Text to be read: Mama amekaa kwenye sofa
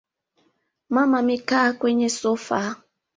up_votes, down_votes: 2, 0